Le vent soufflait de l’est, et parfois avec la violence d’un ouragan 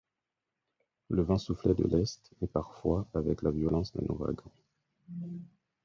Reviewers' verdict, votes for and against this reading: accepted, 4, 0